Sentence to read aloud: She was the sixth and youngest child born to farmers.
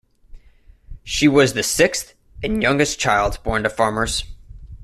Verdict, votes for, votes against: accepted, 2, 0